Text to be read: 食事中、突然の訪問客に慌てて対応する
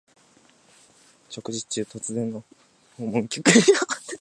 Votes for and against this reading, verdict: 0, 2, rejected